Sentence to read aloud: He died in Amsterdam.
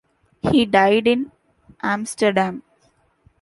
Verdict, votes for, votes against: accepted, 2, 0